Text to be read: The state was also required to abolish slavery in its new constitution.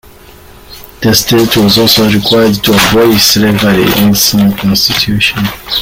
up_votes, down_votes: 3, 0